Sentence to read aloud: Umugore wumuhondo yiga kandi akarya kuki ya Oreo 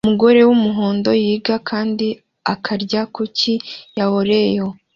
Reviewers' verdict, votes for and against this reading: accepted, 2, 1